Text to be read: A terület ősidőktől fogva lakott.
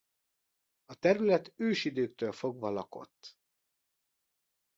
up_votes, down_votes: 2, 0